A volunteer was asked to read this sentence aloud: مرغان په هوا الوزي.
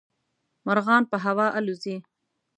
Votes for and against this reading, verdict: 2, 0, accepted